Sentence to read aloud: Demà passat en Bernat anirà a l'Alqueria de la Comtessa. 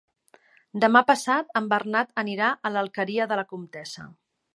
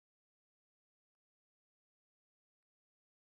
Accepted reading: first